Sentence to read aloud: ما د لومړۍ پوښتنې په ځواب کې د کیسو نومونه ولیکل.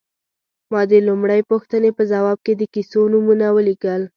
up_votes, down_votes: 3, 0